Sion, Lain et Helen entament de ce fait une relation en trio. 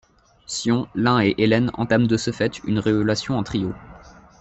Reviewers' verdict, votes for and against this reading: rejected, 0, 2